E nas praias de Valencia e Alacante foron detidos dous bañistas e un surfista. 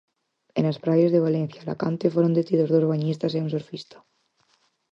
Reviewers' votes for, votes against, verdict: 4, 2, accepted